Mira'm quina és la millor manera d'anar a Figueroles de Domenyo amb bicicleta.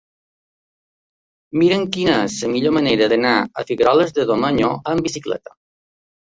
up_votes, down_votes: 2, 1